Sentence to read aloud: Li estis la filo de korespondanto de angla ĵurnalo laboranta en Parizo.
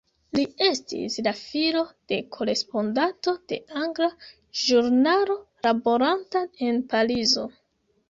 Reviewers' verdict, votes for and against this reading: rejected, 1, 2